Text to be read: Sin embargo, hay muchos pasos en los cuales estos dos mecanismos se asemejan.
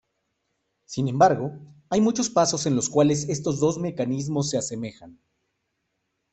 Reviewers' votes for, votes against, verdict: 2, 0, accepted